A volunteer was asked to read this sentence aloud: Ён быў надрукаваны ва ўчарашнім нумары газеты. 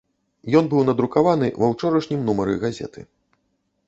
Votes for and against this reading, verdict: 0, 2, rejected